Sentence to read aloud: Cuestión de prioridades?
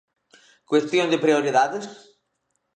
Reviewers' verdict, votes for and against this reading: accepted, 2, 0